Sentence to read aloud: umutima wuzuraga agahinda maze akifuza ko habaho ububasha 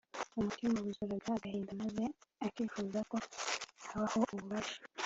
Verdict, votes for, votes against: accepted, 2, 0